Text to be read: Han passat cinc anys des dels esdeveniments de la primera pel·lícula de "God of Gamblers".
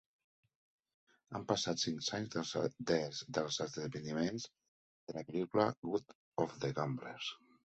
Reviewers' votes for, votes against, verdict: 0, 2, rejected